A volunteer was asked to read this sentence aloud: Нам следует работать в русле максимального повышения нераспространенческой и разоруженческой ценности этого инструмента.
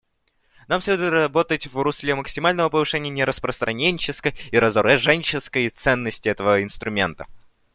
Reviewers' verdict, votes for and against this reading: accepted, 2, 1